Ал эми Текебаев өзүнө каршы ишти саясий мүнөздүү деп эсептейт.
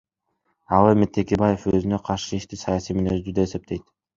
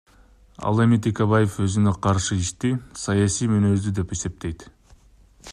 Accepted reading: first